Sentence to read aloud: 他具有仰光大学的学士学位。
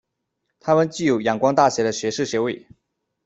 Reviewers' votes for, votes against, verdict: 2, 1, accepted